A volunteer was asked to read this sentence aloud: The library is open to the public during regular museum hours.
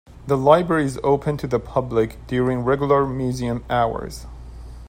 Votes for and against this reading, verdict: 2, 0, accepted